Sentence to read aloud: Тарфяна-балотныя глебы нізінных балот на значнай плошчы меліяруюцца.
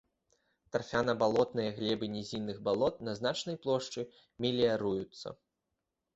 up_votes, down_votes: 2, 1